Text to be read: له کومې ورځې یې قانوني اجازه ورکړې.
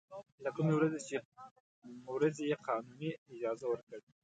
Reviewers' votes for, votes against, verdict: 0, 2, rejected